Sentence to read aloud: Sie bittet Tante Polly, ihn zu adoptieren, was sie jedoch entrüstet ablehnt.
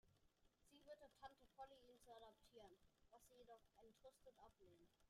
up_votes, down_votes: 0, 2